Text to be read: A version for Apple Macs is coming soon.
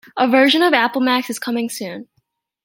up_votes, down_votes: 2, 1